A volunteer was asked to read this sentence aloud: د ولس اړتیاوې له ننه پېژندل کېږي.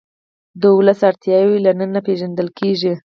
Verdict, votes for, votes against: rejected, 2, 4